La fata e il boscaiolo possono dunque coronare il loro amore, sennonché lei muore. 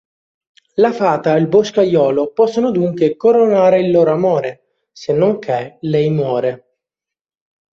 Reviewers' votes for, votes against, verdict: 1, 2, rejected